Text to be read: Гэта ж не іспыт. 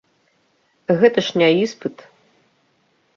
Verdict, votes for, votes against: rejected, 0, 2